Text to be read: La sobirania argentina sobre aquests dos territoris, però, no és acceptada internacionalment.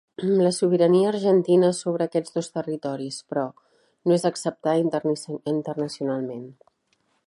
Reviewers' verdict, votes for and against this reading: rejected, 1, 2